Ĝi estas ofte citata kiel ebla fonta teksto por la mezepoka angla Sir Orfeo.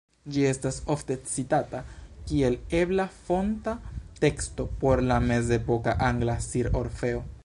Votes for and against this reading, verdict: 2, 0, accepted